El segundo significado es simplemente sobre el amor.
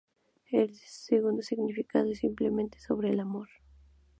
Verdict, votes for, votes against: rejected, 0, 2